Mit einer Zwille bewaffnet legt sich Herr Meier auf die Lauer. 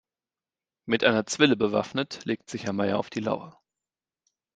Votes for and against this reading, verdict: 2, 0, accepted